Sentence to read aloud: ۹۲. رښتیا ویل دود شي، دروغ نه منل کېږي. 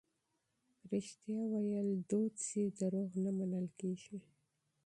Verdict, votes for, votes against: rejected, 0, 2